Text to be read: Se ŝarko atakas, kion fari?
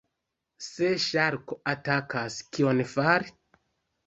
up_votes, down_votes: 1, 2